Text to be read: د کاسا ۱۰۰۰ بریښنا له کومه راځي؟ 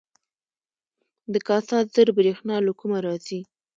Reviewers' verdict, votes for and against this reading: rejected, 0, 2